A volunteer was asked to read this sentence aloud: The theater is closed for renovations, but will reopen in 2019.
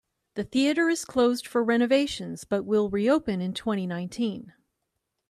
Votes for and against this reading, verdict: 0, 2, rejected